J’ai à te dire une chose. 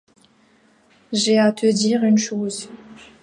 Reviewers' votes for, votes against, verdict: 2, 0, accepted